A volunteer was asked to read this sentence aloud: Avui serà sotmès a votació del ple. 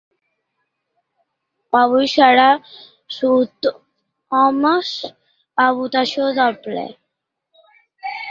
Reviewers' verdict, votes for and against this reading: rejected, 0, 2